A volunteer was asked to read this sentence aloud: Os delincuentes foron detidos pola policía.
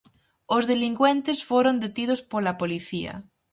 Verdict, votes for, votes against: accepted, 4, 0